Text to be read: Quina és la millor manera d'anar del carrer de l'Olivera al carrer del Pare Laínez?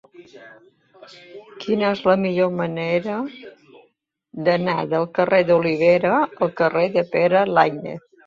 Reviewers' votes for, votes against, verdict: 1, 2, rejected